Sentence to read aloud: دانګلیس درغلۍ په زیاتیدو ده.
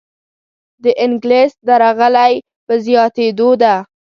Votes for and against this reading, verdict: 0, 2, rejected